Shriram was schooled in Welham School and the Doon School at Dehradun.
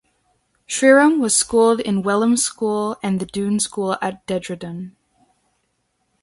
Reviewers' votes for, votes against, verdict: 0, 2, rejected